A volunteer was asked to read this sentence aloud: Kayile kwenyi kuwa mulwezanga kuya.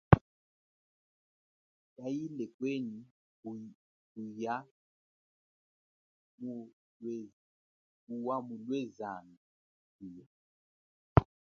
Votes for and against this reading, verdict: 1, 2, rejected